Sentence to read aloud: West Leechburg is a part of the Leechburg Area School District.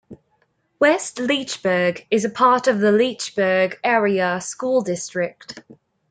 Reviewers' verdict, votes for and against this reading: accepted, 2, 0